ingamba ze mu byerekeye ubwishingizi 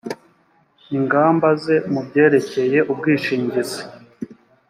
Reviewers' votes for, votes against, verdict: 3, 0, accepted